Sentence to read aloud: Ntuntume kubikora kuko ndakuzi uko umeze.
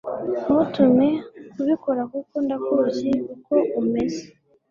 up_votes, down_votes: 1, 2